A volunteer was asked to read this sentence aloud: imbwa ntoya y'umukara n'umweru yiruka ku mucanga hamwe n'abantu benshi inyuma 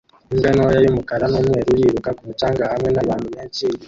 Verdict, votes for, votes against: rejected, 0, 2